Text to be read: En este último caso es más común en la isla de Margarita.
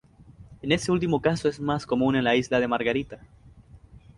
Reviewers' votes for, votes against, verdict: 0, 2, rejected